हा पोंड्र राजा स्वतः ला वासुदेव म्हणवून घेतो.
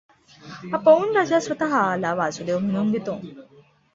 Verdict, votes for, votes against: accepted, 2, 0